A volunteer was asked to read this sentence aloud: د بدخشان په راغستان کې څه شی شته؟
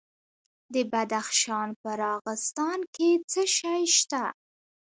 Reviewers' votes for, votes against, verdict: 0, 2, rejected